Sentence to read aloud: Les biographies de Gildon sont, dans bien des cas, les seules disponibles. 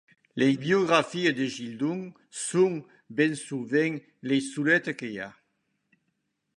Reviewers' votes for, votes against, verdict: 1, 2, rejected